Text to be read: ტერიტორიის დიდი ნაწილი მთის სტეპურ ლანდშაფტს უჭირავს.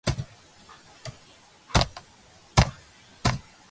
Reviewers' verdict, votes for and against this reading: rejected, 0, 2